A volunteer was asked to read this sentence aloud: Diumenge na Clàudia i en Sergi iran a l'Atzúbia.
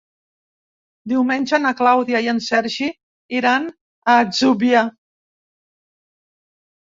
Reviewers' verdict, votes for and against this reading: rejected, 0, 2